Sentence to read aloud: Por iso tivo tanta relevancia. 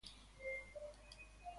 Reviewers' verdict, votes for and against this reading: rejected, 0, 2